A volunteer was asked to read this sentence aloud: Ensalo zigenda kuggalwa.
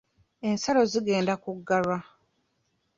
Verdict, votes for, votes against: accepted, 2, 1